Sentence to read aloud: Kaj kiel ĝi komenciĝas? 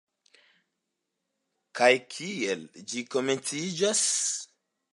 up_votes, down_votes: 2, 0